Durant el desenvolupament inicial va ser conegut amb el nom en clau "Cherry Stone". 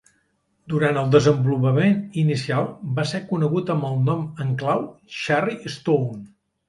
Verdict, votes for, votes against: accepted, 2, 0